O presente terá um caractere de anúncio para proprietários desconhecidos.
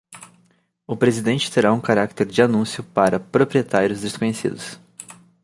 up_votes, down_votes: 0, 2